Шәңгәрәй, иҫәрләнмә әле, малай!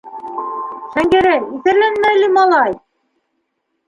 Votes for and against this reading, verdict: 2, 1, accepted